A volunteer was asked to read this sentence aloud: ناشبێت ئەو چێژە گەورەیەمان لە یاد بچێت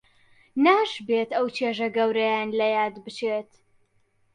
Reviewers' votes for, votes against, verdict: 0, 2, rejected